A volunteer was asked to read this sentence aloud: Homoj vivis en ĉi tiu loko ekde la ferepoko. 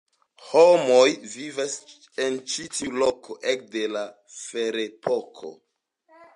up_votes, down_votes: 2, 0